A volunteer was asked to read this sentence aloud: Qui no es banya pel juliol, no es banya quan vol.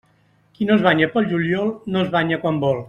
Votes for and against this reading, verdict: 3, 0, accepted